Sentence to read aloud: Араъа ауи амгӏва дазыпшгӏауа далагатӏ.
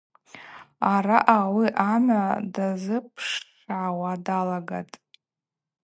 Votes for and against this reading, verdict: 4, 0, accepted